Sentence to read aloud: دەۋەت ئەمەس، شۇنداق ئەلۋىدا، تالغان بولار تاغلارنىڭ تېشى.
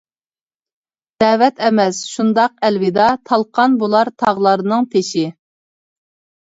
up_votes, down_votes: 1, 2